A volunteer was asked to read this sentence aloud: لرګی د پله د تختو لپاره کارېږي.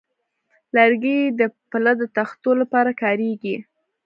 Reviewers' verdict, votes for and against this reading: rejected, 1, 2